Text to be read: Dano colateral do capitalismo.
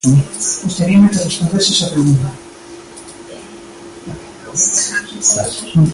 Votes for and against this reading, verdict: 0, 2, rejected